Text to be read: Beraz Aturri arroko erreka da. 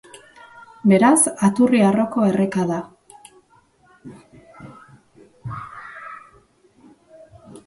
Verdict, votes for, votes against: rejected, 1, 2